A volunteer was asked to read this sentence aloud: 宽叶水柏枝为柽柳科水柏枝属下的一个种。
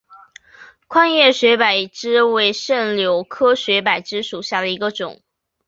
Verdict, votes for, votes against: accepted, 8, 0